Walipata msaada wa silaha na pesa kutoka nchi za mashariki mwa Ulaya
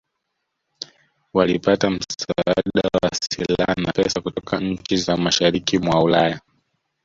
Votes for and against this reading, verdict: 1, 2, rejected